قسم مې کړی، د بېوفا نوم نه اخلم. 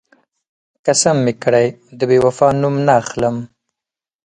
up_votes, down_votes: 6, 0